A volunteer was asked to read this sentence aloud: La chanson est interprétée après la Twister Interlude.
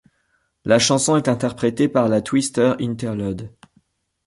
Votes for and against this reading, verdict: 1, 2, rejected